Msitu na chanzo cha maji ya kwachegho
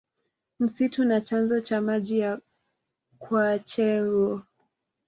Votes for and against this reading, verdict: 1, 2, rejected